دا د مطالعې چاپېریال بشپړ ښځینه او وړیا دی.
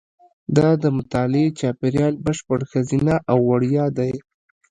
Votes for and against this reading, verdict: 3, 1, accepted